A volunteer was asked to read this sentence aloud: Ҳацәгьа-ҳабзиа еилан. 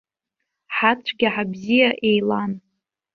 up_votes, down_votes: 2, 0